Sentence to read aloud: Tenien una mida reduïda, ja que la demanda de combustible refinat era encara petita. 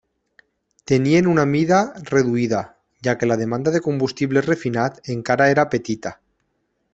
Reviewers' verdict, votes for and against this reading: rejected, 2, 3